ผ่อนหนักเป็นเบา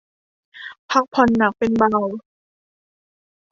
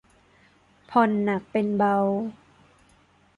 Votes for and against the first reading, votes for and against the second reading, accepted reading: 0, 2, 2, 0, second